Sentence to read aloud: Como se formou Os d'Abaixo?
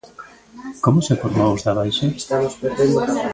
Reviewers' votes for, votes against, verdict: 0, 2, rejected